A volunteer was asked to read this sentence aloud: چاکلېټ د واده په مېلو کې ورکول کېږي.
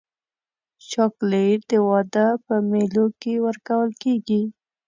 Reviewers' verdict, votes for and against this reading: accepted, 2, 0